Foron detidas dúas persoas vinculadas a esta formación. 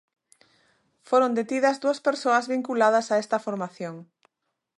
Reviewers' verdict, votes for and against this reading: accepted, 2, 0